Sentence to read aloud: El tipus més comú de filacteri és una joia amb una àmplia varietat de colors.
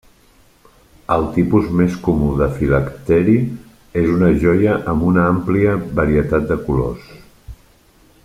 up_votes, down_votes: 3, 0